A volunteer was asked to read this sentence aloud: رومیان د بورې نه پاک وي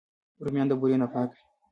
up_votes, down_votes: 1, 2